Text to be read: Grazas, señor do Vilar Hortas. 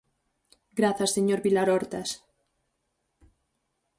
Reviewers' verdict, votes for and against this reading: rejected, 2, 4